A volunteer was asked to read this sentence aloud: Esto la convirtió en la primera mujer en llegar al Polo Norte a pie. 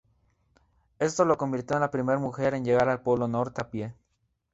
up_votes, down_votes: 0, 2